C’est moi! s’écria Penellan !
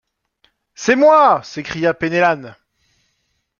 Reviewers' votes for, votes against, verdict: 1, 2, rejected